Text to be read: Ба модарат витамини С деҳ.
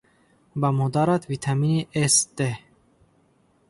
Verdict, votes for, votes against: rejected, 0, 2